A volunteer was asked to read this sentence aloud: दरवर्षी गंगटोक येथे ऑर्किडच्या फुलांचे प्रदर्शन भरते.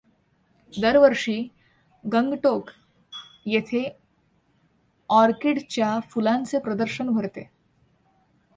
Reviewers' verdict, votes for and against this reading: accepted, 2, 0